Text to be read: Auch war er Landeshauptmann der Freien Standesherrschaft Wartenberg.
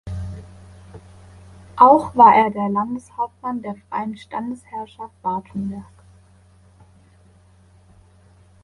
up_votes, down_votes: 1, 2